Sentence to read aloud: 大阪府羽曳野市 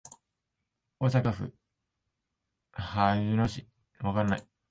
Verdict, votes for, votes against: rejected, 9, 21